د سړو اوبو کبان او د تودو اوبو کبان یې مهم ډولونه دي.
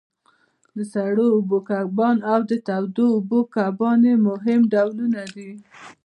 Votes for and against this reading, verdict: 1, 2, rejected